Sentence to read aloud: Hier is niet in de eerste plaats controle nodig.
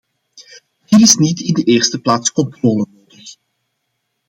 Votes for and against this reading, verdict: 0, 2, rejected